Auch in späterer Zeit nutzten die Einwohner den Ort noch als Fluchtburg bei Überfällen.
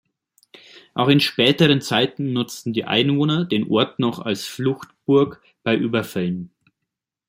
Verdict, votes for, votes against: rejected, 1, 2